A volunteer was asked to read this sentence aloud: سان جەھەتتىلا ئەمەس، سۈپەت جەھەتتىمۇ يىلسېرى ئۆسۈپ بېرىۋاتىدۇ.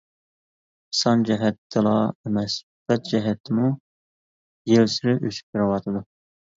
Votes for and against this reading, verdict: 2, 3, rejected